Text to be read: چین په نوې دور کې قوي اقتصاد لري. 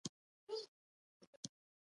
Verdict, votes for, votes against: rejected, 0, 2